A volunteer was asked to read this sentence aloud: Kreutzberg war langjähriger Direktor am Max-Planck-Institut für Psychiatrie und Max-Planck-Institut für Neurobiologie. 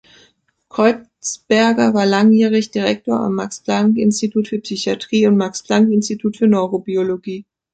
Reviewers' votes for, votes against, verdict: 1, 3, rejected